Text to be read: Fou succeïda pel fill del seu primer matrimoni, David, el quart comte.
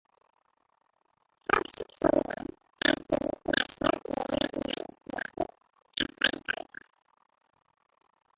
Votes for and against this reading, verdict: 1, 2, rejected